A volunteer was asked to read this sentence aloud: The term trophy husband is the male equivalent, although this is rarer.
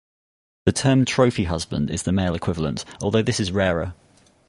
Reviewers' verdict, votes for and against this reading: accepted, 4, 0